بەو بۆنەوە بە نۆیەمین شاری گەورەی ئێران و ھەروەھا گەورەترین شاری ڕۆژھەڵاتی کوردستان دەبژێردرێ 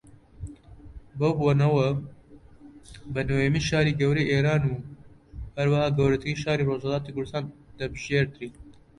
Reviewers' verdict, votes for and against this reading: rejected, 0, 2